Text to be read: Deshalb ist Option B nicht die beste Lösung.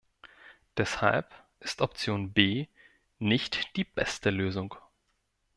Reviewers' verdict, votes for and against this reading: accepted, 2, 0